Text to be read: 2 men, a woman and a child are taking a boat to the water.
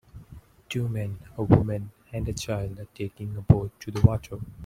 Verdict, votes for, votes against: rejected, 0, 2